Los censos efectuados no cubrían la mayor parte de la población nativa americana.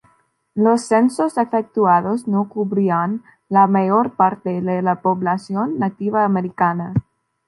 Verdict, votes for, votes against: accepted, 2, 0